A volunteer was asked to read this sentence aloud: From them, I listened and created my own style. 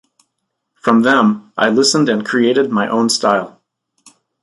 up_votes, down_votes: 2, 0